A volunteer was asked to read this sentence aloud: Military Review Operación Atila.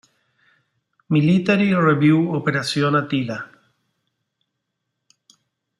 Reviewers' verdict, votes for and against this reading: rejected, 0, 2